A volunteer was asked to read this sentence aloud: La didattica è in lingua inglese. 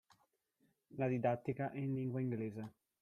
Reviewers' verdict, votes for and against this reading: rejected, 1, 2